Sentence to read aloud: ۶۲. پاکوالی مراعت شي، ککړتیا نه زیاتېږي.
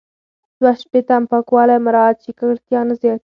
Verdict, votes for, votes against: rejected, 0, 2